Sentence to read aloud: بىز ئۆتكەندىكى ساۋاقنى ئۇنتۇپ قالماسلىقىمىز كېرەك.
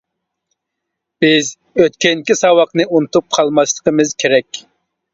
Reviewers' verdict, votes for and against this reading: rejected, 1, 2